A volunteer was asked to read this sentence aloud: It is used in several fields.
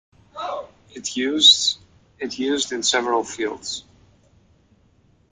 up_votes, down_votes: 1, 2